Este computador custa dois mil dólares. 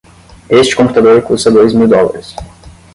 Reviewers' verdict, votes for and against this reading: accepted, 10, 0